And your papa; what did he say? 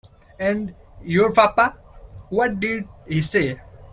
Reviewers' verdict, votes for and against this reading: accepted, 2, 0